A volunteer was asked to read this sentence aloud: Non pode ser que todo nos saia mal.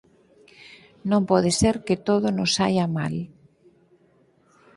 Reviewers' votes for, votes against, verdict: 4, 0, accepted